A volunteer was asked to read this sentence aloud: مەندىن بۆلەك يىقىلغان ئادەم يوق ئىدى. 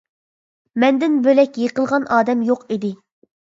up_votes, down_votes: 2, 0